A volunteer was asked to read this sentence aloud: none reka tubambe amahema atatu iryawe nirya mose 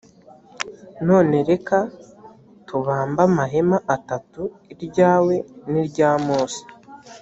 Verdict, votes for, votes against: accepted, 2, 0